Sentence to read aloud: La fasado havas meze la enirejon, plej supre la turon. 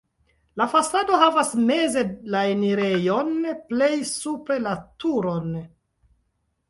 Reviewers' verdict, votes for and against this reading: accepted, 2, 0